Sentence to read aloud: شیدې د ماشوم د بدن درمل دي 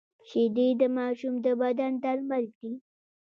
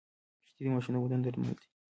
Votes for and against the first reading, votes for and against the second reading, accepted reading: 0, 2, 2, 1, second